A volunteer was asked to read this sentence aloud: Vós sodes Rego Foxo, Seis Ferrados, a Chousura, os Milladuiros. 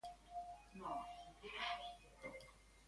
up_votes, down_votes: 0, 2